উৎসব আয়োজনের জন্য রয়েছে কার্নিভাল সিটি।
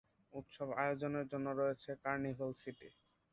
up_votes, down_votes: 3, 1